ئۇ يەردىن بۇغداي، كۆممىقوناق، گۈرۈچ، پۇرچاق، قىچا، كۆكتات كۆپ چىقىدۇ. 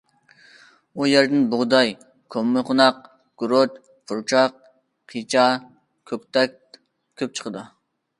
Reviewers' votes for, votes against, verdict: 2, 0, accepted